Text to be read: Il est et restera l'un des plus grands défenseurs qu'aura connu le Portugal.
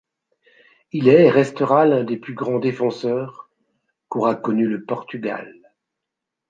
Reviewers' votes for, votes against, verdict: 2, 0, accepted